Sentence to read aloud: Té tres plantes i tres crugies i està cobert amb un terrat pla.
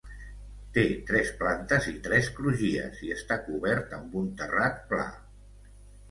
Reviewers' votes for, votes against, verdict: 2, 0, accepted